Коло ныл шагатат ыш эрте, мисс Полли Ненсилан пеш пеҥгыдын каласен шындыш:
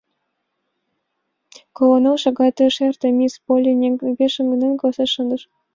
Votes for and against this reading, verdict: 1, 5, rejected